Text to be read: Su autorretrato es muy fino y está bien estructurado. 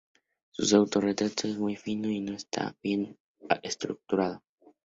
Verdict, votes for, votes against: rejected, 0, 2